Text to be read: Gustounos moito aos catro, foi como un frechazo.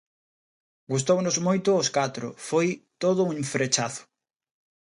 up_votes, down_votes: 0, 2